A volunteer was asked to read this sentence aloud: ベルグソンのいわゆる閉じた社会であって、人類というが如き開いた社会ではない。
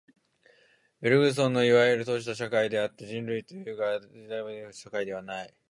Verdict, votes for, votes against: rejected, 1, 2